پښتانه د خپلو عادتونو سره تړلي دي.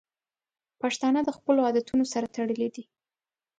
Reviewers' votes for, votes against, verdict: 2, 0, accepted